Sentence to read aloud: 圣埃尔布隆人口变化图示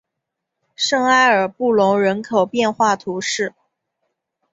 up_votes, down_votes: 2, 0